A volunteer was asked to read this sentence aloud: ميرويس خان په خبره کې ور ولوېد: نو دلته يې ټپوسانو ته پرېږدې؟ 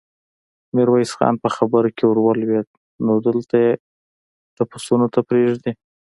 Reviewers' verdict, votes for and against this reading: rejected, 1, 2